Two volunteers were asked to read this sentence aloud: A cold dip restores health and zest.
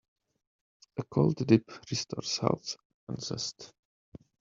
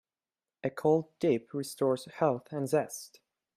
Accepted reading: second